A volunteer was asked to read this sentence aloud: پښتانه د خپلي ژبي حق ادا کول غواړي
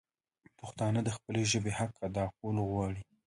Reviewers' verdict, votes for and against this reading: accepted, 2, 0